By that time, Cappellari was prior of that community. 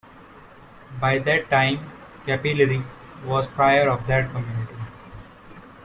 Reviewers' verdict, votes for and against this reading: rejected, 0, 2